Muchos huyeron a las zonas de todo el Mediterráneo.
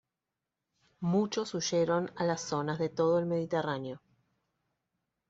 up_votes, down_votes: 2, 0